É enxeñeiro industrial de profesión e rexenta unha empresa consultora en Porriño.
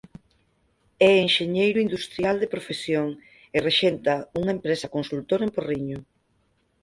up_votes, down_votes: 4, 0